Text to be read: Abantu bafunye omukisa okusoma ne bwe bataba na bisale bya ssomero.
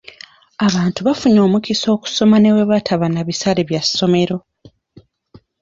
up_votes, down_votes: 2, 0